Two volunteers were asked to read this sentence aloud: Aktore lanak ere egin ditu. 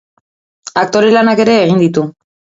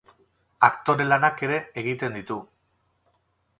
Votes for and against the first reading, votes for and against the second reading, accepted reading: 2, 0, 0, 4, first